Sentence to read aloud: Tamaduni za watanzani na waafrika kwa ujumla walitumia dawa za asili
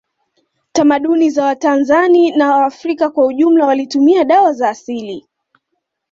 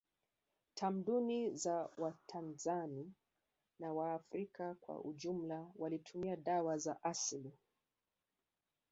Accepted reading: first